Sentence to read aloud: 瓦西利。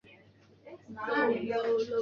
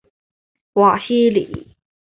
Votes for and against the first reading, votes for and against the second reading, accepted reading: 0, 3, 2, 0, second